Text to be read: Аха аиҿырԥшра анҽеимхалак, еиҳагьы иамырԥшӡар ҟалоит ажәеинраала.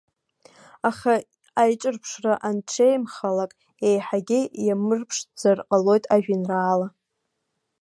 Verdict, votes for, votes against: rejected, 0, 2